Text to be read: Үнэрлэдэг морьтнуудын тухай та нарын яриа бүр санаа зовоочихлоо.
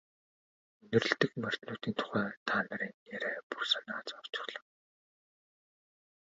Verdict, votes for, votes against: rejected, 0, 2